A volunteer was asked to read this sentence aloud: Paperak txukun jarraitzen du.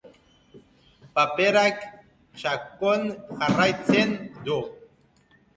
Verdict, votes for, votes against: accepted, 2, 0